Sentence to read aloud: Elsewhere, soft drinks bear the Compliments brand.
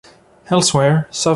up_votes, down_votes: 0, 2